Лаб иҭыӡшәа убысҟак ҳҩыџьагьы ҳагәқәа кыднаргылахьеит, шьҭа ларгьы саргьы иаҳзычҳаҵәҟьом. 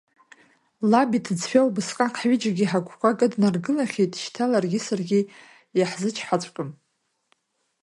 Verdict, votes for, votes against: accepted, 2, 0